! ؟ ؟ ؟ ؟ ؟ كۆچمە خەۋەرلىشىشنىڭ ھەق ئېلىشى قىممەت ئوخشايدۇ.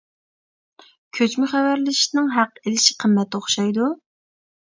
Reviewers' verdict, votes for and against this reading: rejected, 0, 2